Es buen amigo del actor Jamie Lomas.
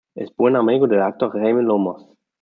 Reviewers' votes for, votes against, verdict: 3, 1, accepted